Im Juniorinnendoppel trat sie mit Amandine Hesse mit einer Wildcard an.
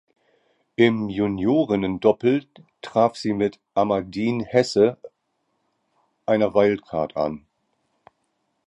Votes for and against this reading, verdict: 0, 3, rejected